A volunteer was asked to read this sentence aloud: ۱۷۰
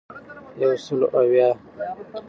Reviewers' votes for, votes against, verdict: 0, 2, rejected